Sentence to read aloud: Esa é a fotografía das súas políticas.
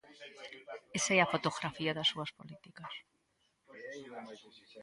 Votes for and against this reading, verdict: 2, 0, accepted